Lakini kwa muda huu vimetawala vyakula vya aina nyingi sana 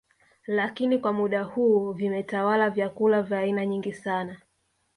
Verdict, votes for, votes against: accepted, 2, 0